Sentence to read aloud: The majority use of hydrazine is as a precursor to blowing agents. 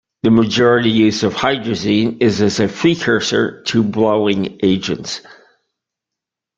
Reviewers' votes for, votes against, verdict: 1, 2, rejected